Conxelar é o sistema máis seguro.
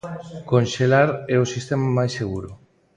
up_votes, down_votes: 2, 0